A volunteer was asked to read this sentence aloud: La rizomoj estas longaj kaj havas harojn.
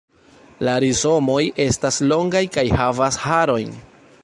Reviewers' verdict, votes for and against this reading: accepted, 2, 0